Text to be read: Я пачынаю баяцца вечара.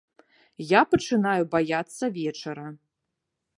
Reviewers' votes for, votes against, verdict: 2, 0, accepted